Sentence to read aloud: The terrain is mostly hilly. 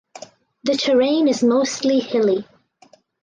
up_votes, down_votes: 4, 0